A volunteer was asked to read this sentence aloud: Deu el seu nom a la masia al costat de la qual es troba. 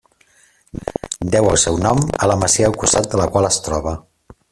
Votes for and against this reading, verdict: 1, 2, rejected